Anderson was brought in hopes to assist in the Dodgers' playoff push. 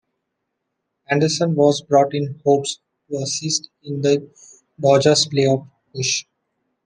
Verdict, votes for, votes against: rejected, 0, 2